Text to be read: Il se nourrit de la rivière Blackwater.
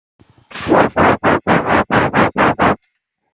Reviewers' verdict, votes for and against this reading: rejected, 0, 2